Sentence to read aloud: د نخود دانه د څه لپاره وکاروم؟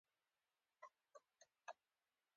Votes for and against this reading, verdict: 2, 0, accepted